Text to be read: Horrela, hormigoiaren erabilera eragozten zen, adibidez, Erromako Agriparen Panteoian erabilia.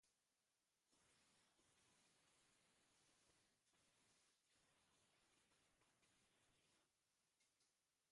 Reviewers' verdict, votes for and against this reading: rejected, 0, 2